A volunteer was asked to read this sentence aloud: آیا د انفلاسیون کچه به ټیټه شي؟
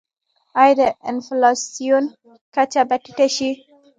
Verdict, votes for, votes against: accepted, 2, 1